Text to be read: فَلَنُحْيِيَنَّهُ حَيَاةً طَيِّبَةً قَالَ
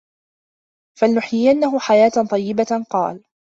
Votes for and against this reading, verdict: 1, 2, rejected